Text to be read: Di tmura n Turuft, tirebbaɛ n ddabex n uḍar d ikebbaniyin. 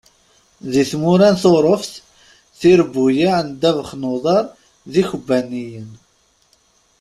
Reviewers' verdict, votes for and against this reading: rejected, 0, 2